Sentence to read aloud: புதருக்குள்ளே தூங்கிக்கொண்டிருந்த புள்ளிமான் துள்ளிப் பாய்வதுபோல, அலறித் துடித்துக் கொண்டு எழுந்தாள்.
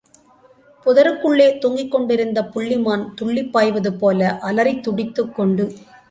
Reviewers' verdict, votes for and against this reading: rejected, 0, 3